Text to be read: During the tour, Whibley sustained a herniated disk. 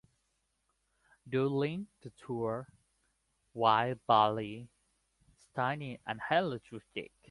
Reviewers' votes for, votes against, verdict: 0, 2, rejected